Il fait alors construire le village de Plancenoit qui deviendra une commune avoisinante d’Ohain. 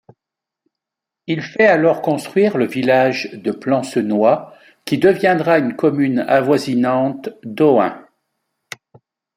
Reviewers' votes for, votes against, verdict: 2, 0, accepted